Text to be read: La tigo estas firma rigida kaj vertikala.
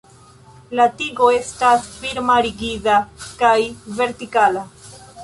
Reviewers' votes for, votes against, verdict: 0, 2, rejected